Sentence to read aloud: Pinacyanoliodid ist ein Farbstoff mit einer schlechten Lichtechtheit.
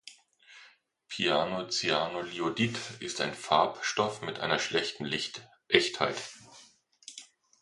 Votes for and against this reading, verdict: 1, 2, rejected